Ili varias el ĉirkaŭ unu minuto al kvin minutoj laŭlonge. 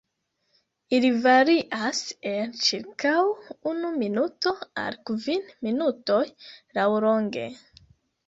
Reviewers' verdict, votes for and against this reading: accepted, 2, 1